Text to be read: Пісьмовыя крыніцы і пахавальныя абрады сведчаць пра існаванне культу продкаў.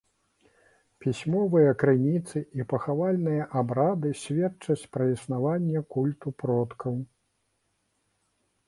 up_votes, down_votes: 2, 0